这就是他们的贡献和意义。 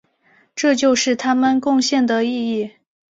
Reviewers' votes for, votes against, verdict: 1, 2, rejected